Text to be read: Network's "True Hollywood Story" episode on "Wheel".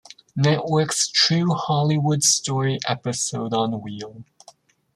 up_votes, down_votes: 2, 1